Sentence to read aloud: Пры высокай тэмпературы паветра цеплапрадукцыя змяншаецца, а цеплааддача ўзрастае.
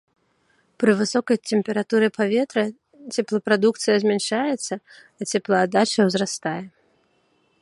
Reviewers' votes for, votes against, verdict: 1, 2, rejected